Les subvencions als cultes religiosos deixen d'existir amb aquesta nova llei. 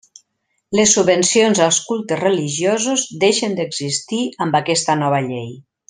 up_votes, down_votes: 2, 0